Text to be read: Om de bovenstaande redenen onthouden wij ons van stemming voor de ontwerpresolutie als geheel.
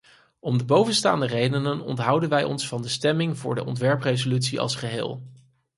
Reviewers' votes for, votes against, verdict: 2, 4, rejected